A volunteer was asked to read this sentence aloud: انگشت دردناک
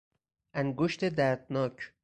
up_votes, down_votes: 4, 0